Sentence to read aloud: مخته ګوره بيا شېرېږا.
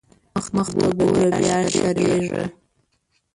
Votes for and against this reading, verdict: 1, 2, rejected